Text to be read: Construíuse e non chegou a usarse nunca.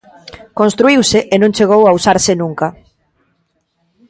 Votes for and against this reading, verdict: 2, 0, accepted